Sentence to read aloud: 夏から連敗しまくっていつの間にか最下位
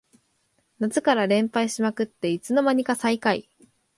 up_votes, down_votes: 2, 0